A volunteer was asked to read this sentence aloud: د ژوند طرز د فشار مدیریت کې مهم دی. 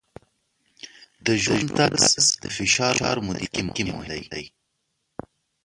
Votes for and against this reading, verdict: 0, 2, rejected